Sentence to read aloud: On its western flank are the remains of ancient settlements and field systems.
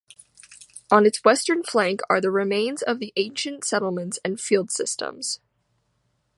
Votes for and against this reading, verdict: 2, 0, accepted